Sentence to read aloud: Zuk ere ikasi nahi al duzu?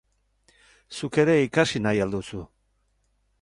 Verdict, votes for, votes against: accepted, 6, 0